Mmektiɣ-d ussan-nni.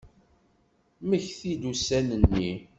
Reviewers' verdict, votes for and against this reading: rejected, 1, 2